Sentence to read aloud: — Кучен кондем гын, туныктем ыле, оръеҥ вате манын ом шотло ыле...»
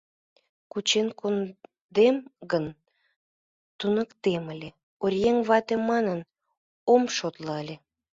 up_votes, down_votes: 0, 2